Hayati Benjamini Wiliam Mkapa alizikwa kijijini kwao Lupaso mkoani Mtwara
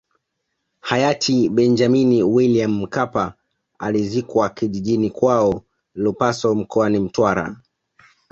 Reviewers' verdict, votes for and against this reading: accepted, 2, 0